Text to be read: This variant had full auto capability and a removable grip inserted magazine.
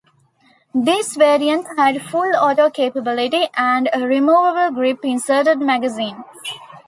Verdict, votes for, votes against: accepted, 2, 0